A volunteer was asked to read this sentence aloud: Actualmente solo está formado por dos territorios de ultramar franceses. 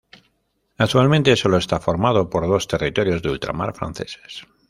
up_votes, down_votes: 0, 2